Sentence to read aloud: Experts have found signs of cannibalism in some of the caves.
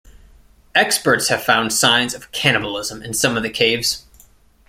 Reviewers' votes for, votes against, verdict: 2, 0, accepted